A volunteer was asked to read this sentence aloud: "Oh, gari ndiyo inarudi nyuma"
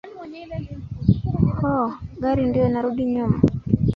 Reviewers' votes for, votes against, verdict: 1, 2, rejected